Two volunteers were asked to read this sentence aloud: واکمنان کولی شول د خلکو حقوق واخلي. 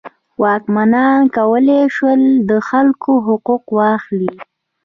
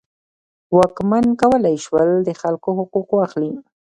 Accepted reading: first